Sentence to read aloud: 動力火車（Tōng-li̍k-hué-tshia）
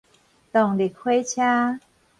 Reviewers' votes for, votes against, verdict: 4, 0, accepted